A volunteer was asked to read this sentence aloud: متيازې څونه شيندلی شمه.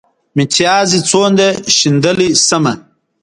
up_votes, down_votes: 2, 1